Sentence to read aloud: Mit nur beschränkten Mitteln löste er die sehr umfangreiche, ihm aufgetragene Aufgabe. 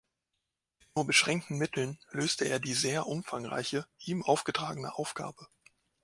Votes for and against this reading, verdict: 1, 2, rejected